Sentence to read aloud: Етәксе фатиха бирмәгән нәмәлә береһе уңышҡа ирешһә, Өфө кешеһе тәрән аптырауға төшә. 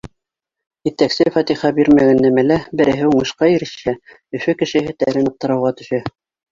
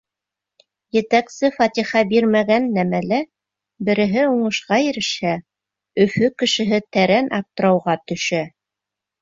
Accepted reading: second